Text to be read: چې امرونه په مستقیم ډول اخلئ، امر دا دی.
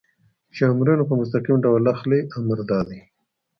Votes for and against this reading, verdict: 2, 0, accepted